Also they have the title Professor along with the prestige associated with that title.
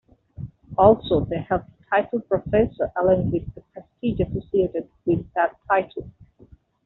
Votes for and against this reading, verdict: 1, 2, rejected